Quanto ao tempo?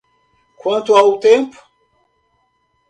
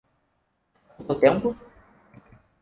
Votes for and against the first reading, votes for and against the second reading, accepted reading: 2, 0, 2, 4, first